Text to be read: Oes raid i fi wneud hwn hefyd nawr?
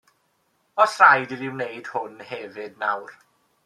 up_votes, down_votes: 2, 0